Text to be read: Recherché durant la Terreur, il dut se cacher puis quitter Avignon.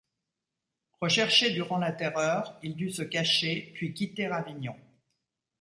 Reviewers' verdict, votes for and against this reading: accepted, 2, 0